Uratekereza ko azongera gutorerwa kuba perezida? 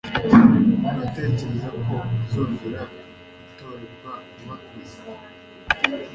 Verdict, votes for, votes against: rejected, 1, 2